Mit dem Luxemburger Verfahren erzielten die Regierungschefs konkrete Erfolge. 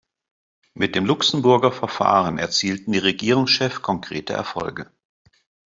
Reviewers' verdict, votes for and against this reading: rejected, 1, 4